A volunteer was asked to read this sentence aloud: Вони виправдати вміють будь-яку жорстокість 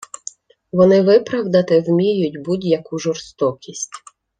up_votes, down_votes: 2, 0